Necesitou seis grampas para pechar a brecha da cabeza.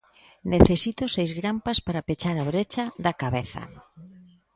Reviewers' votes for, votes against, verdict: 0, 2, rejected